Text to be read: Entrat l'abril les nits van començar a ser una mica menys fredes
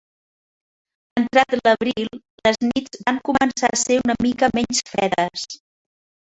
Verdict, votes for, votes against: rejected, 2, 4